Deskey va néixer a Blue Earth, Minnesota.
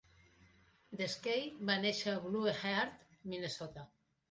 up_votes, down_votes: 0, 2